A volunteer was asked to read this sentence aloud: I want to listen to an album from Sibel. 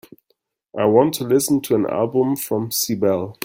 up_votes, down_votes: 2, 0